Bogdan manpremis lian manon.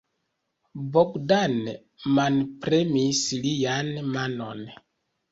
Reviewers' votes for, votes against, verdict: 2, 0, accepted